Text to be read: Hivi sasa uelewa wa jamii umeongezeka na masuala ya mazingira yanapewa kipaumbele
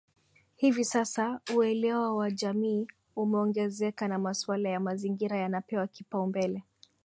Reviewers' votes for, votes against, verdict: 11, 0, accepted